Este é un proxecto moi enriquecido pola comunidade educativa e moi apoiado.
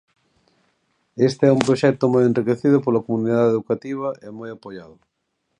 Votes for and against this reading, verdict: 2, 0, accepted